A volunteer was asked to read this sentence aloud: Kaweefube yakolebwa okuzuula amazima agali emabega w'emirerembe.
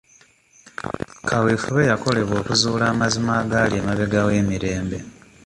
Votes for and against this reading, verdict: 1, 2, rejected